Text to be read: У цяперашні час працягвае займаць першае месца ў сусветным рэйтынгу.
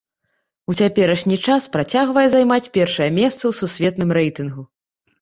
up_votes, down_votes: 2, 0